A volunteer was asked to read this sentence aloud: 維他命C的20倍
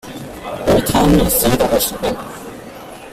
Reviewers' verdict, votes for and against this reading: rejected, 0, 2